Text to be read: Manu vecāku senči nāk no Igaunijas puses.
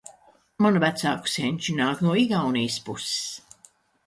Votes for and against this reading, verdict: 2, 0, accepted